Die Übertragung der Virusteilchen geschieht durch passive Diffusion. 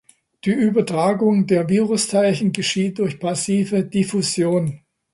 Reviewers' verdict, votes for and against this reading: accepted, 2, 0